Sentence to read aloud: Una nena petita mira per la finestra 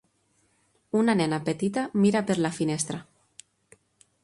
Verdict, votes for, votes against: accepted, 3, 0